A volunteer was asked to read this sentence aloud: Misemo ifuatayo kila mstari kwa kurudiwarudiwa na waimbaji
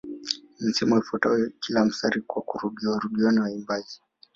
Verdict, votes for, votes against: accepted, 2, 0